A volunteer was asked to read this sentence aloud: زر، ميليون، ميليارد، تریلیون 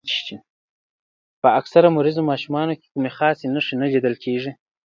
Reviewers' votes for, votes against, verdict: 0, 2, rejected